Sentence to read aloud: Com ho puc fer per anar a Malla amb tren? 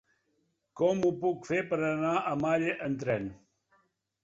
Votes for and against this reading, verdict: 1, 2, rejected